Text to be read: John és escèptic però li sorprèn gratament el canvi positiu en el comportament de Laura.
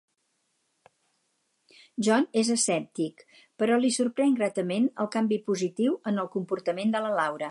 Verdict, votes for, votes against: rejected, 2, 4